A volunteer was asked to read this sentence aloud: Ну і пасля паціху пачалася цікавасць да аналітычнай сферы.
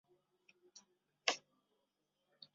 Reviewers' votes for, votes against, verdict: 0, 2, rejected